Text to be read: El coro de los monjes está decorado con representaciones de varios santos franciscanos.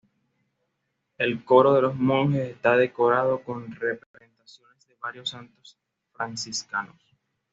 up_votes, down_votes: 2, 0